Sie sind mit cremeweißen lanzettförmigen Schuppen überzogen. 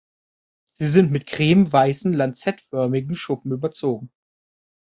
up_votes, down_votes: 2, 0